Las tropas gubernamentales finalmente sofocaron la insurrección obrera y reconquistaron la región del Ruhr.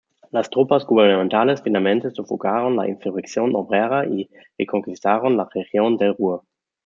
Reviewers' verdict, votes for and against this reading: rejected, 0, 2